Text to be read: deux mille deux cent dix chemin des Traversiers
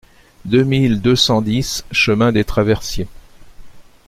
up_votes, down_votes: 2, 0